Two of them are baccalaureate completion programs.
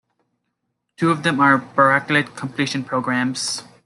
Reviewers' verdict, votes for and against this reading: rejected, 1, 2